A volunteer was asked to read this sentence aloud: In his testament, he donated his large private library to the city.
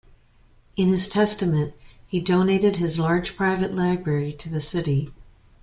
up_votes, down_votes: 2, 0